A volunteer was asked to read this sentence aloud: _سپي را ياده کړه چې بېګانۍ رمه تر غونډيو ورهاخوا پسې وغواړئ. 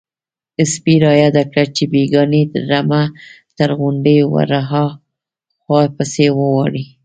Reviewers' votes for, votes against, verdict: 1, 2, rejected